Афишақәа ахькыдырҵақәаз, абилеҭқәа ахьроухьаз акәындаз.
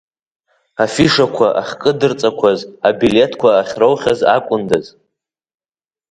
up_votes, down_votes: 2, 0